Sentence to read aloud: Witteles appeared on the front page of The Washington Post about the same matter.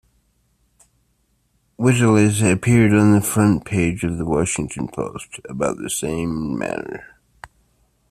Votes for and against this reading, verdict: 2, 0, accepted